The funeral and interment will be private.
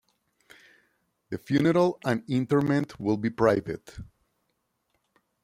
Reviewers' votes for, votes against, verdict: 2, 0, accepted